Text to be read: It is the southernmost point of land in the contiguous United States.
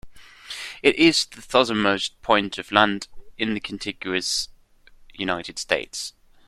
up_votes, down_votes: 2, 1